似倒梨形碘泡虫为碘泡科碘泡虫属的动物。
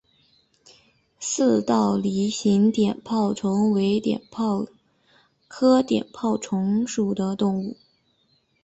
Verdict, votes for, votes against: accepted, 2, 0